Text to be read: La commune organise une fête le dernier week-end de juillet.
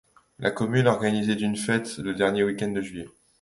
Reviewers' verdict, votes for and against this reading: rejected, 0, 2